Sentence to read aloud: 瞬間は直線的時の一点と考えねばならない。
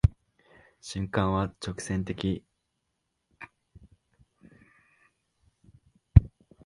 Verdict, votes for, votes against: rejected, 0, 2